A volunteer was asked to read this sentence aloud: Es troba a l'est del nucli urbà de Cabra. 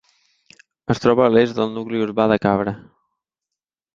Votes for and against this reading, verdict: 3, 1, accepted